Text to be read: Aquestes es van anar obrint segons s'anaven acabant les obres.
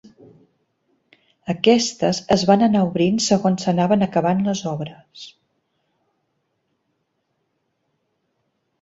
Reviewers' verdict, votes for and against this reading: accepted, 2, 0